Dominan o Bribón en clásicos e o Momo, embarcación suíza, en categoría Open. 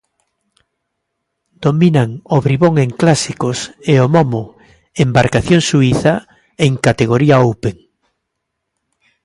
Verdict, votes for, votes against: accepted, 2, 0